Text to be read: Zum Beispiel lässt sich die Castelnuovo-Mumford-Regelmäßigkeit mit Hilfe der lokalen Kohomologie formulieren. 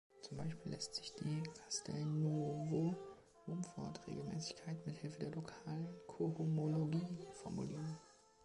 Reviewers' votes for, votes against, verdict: 0, 2, rejected